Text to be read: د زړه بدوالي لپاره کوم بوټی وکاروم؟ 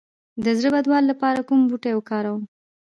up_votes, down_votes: 1, 2